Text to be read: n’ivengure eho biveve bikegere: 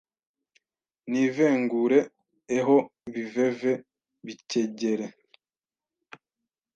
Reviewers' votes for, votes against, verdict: 1, 2, rejected